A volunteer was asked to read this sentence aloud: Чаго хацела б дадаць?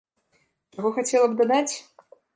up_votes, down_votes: 0, 2